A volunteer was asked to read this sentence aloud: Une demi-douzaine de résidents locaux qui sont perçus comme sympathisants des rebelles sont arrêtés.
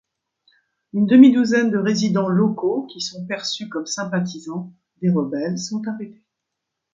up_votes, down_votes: 2, 0